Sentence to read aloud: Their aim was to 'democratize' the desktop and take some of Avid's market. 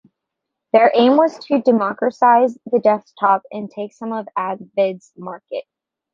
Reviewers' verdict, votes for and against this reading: rejected, 1, 2